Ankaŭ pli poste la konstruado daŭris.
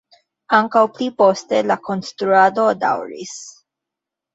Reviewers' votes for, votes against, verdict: 2, 1, accepted